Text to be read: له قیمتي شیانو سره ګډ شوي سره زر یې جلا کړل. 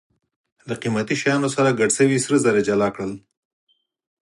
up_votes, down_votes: 4, 0